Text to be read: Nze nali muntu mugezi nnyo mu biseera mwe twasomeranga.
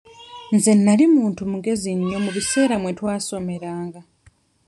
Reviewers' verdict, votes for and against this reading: accepted, 2, 0